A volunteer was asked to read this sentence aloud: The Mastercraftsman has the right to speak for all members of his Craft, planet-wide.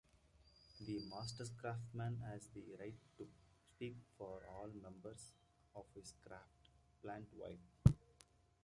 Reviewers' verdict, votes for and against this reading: rejected, 1, 2